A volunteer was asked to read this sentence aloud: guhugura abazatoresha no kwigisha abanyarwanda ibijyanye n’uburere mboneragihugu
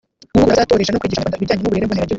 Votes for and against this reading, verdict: 0, 2, rejected